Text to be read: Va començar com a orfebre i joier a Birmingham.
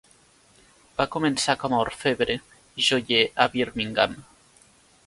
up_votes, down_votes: 2, 3